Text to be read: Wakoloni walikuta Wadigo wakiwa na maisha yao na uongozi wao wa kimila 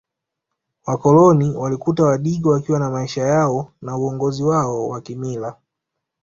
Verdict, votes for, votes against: accepted, 2, 0